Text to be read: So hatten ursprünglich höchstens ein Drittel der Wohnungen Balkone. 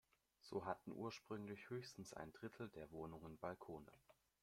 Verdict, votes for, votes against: accepted, 2, 0